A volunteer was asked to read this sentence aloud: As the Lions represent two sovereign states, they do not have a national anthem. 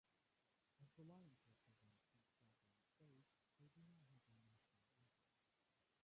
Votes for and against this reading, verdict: 0, 2, rejected